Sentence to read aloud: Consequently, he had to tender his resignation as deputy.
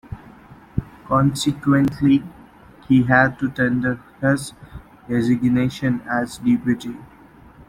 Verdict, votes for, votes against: accepted, 2, 0